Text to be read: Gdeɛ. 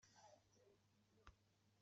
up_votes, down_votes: 1, 2